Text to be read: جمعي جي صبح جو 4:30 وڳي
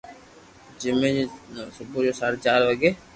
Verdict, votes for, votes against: rejected, 0, 2